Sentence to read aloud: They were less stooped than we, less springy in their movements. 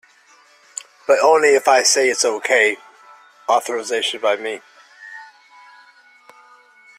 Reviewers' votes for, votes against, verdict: 0, 2, rejected